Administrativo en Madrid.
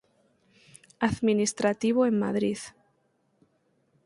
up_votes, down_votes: 4, 2